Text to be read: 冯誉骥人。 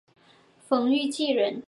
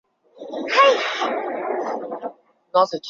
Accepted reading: first